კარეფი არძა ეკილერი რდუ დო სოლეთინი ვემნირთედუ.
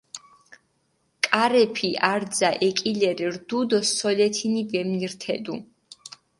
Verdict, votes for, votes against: accepted, 4, 0